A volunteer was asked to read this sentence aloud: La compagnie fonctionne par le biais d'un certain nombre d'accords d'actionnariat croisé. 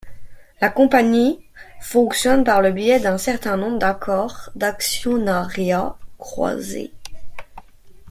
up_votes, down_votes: 1, 2